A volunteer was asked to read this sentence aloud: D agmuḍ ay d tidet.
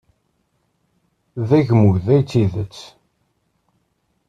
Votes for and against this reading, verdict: 1, 2, rejected